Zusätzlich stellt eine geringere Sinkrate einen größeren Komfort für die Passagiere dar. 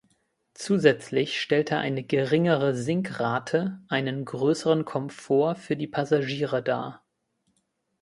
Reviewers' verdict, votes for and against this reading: rejected, 1, 2